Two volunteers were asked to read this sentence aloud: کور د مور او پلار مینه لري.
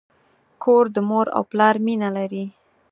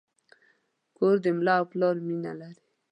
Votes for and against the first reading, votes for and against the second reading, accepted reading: 4, 0, 0, 2, first